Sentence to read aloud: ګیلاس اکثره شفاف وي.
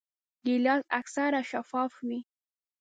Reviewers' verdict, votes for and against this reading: accepted, 2, 0